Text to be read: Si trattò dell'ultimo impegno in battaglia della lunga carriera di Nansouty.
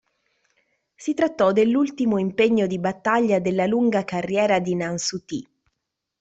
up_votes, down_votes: 0, 2